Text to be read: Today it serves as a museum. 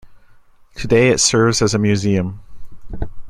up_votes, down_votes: 2, 0